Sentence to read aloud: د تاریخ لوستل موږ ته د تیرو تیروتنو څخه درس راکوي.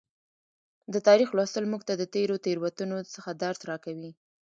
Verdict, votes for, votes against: accepted, 2, 0